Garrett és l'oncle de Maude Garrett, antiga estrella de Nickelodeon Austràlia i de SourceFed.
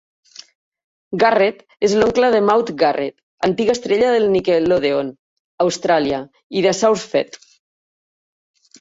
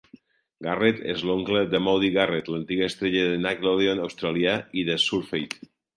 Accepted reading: first